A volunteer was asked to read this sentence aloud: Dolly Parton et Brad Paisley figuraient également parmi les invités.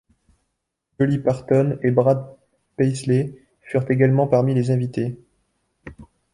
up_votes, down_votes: 1, 2